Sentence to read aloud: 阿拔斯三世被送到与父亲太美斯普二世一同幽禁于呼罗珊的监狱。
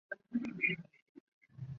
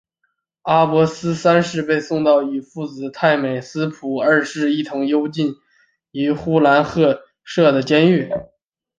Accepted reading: first